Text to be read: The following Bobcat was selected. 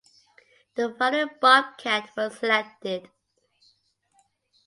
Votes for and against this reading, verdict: 2, 0, accepted